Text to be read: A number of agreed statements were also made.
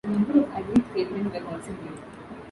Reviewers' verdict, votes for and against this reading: rejected, 1, 2